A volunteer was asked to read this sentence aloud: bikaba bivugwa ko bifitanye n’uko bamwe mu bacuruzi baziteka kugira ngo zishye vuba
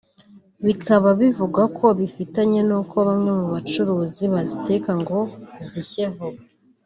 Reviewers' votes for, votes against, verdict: 2, 0, accepted